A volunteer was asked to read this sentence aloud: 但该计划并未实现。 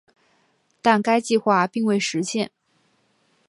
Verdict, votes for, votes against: accepted, 3, 0